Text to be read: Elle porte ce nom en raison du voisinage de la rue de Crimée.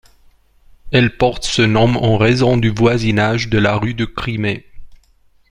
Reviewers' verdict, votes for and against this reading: accepted, 2, 0